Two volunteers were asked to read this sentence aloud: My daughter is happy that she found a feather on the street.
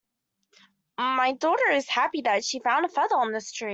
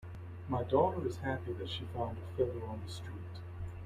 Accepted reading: second